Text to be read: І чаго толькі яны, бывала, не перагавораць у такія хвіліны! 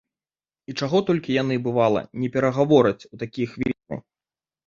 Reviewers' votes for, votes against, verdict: 1, 3, rejected